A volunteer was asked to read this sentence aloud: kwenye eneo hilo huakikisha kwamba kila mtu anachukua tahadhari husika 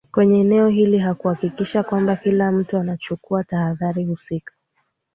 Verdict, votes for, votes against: accepted, 2, 0